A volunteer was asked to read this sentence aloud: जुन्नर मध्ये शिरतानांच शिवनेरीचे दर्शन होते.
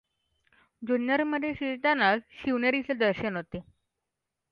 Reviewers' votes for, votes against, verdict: 2, 0, accepted